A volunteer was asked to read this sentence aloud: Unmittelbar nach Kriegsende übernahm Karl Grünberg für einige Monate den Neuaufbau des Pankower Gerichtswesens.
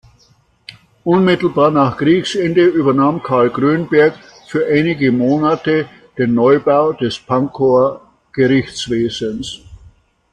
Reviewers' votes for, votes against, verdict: 1, 2, rejected